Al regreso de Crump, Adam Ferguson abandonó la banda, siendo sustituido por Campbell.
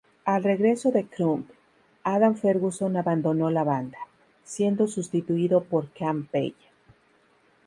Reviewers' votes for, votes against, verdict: 2, 0, accepted